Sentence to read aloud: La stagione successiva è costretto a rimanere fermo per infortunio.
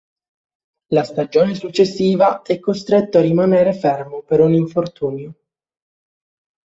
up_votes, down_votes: 0, 3